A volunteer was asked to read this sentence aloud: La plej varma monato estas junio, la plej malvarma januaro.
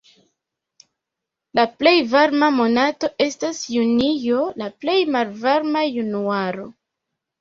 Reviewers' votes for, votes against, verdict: 0, 2, rejected